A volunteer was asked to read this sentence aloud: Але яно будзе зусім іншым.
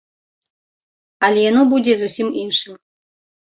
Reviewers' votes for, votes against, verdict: 2, 0, accepted